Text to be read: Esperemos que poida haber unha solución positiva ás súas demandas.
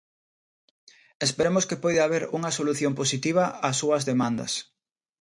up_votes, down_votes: 2, 0